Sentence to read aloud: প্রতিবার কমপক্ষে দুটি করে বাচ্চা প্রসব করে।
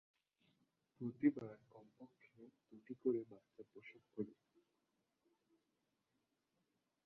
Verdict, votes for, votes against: rejected, 2, 6